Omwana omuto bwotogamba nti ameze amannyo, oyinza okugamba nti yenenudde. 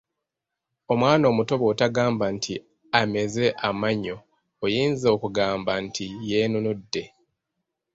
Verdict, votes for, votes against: rejected, 1, 2